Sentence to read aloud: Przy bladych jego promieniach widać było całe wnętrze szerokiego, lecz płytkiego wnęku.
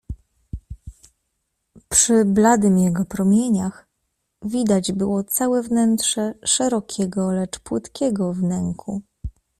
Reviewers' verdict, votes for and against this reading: rejected, 0, 2